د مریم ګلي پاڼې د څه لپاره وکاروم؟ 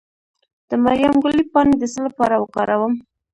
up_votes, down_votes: 1, 2